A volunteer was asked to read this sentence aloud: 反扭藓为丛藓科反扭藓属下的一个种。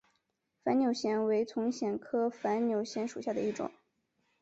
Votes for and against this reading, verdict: 1, 2, rejected